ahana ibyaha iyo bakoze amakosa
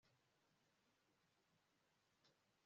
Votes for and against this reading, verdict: 1, 2, rejected